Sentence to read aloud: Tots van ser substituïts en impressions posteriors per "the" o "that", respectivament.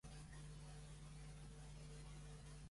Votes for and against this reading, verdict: 0, 2, rejected